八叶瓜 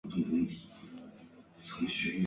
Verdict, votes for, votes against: rejected, 0, 2